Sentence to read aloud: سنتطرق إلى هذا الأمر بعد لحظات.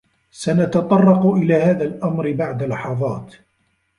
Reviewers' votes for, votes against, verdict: 2, 1, accepted